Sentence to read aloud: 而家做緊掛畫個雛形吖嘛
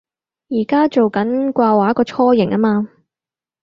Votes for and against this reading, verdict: 4, 0, accepted